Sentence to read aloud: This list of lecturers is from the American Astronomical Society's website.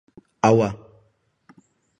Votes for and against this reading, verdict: 0, 2, rejected